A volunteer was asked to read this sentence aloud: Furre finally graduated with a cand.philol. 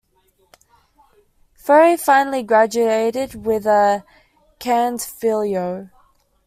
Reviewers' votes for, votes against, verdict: 2, 1, accepted